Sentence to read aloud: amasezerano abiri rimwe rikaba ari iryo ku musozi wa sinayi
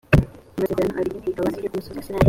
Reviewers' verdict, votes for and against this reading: rejected, 0, 3